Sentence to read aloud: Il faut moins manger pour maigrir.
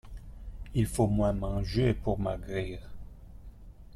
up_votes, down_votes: 1, 2